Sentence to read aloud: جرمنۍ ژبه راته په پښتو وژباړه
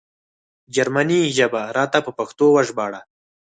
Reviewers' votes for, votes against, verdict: 4, 0, accepted